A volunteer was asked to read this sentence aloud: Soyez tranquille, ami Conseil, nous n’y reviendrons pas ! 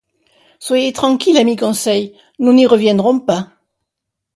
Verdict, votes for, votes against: accepted, 2, 0